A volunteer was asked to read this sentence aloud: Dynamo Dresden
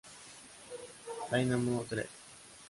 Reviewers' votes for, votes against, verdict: 1, 2, rejected